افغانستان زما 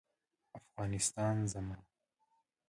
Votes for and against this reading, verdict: 2, 0, accepted